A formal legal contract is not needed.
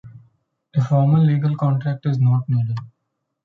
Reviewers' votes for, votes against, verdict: 2, 0, accepted